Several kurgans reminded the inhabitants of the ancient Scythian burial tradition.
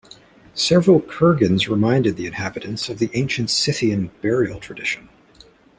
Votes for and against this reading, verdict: 2, 0, accepted